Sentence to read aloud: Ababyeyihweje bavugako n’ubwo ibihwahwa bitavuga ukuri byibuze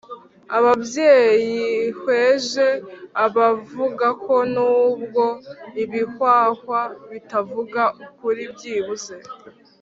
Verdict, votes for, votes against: accepted, 2, 0